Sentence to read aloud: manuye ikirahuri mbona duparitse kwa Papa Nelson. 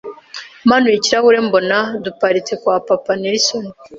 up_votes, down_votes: 2, 0